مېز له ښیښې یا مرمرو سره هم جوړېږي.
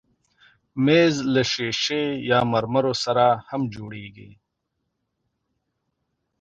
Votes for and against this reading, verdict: 2, 1, accepted